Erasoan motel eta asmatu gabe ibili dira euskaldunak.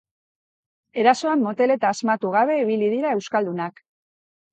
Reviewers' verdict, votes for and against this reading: accepted, 2, 0